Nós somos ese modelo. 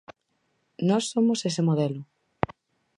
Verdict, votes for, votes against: accepted, 4, 0